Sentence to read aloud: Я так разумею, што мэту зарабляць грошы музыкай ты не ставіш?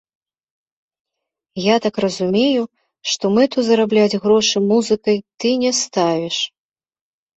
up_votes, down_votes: 0, 3